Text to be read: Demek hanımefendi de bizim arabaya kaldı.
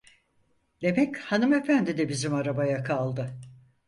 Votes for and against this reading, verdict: 4, 0, accepted